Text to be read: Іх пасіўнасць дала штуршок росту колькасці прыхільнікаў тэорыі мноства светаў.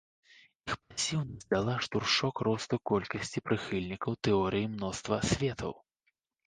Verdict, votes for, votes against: rejected, 0, 2